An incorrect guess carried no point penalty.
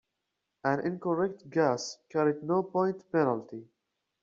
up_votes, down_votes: 2, 0